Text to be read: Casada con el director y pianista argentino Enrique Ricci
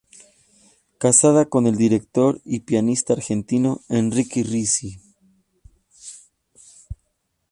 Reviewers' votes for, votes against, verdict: 2, 0, accepted